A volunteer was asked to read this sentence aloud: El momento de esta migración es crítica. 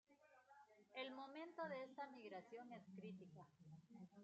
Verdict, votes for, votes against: accepted, 2, 0